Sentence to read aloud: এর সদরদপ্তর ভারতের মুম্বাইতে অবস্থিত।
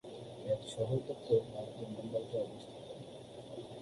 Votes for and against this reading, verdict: 0, 3, rejected